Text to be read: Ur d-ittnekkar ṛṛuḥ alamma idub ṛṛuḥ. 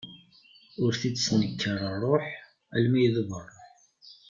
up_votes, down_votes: 1, 2